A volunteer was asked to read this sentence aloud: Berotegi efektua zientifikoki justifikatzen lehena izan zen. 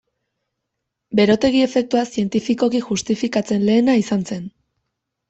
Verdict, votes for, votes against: accepted, 2, 0